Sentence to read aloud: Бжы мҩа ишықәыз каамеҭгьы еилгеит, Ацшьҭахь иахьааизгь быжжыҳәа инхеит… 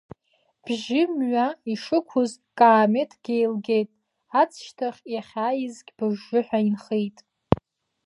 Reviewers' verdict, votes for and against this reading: rejected, 1, 2